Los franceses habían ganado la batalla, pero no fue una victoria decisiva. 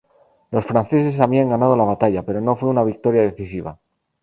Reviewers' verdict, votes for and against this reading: accepted, 2, 0